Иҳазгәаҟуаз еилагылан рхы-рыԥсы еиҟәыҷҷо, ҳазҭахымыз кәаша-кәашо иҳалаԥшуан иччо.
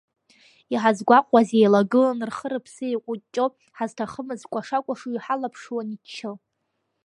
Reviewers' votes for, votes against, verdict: 2, 0, accepted